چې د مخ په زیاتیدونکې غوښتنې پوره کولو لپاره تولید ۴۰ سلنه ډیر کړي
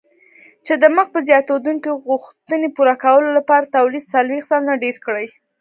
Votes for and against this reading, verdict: 0, 2, rejected